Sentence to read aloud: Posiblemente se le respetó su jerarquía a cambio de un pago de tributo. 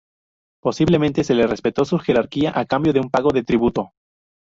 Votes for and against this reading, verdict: 2, 0, accepted